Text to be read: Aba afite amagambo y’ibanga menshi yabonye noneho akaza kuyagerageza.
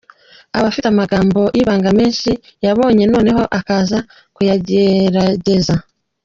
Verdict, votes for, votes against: accepted, 2, 0